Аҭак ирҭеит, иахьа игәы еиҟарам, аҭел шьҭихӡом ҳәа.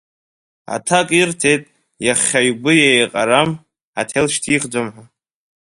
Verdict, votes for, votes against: rejected, 0, 2